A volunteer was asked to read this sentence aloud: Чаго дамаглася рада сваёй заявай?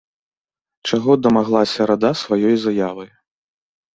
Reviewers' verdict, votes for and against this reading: rejected, 1, 2